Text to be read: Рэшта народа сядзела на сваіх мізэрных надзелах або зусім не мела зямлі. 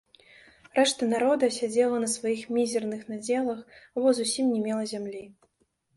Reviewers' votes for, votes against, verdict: 0, 2, rejected